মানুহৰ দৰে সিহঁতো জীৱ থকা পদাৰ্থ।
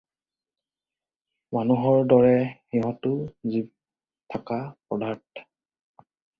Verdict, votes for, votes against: accepted, 4, 0